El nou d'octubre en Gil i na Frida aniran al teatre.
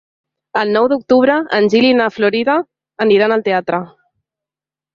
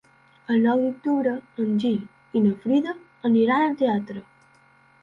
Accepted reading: second